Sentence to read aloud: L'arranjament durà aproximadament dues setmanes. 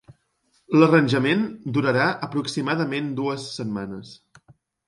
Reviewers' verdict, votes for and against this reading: rejected, 0, 2